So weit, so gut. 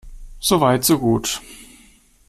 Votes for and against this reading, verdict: 2, 0, accepted